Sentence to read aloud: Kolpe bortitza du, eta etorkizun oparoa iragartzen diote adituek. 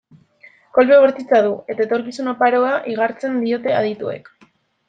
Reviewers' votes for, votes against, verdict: 1, 2, rejected